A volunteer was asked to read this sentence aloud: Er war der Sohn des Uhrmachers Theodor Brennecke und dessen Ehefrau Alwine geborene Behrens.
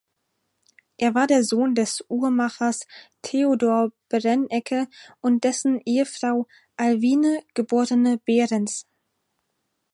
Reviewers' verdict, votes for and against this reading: rejected, 2, 4